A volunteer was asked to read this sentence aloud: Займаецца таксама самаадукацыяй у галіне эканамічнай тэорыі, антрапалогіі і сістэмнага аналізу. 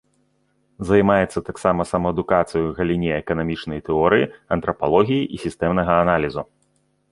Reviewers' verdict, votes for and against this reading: accepted, 2, 0